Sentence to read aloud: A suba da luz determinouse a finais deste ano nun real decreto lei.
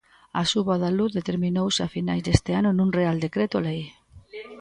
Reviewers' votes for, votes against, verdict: 0, 2, rejected